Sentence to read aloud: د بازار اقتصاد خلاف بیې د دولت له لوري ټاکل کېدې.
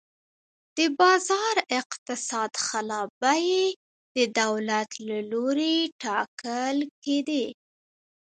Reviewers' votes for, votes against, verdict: 2, 1, accepted